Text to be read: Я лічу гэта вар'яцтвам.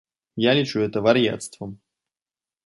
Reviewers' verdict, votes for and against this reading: rejected, 1, 2